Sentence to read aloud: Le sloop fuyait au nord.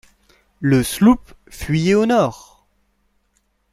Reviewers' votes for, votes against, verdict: 2, 0, accepted